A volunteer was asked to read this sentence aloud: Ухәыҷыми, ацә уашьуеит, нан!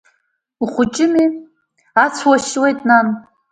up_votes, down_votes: 2, 0